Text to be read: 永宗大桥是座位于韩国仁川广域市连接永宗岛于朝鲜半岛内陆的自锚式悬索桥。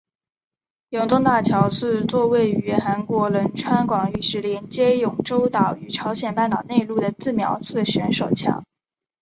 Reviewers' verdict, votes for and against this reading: accepted, 2, 0